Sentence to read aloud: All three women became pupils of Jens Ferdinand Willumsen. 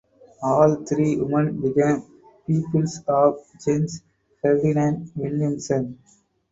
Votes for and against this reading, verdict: 2, 4, rejected